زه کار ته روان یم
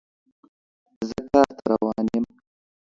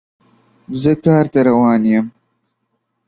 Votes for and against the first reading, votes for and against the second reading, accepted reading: 0, 2, 2, 0, second